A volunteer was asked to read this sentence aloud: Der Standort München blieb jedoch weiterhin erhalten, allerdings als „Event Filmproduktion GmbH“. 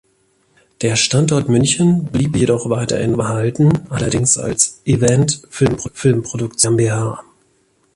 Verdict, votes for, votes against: rejected, 0, 2